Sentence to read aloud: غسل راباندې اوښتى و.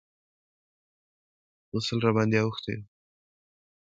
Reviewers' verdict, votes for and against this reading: accepted, 2, 0